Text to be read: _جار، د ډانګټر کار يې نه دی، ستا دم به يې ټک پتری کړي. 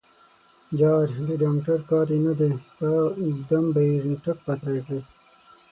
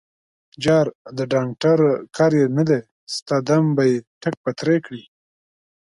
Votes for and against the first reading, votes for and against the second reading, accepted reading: 3, 6, 2, 0, second